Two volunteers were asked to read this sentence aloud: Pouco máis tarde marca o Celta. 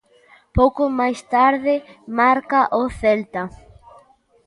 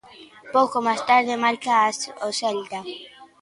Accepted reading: first